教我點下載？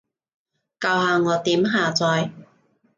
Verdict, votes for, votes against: rejected, 1, 2